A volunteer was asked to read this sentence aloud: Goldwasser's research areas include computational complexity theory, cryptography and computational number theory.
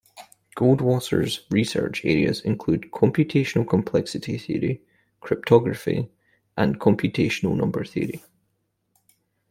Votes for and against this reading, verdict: 2, 1, accepted